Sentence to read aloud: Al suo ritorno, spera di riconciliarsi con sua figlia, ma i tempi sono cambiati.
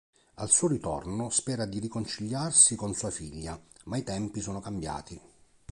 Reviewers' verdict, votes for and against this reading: accepted, 2, 0